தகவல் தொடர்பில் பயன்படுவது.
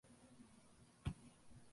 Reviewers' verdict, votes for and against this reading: rejected, 0, 2